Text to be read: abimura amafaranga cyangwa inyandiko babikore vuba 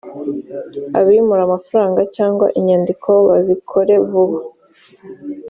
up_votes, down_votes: 2, 0